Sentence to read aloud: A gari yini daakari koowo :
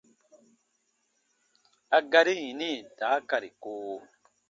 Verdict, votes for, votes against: accepted, 2, 0